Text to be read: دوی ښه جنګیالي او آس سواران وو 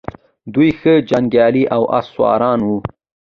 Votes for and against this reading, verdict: 2, 0, accepted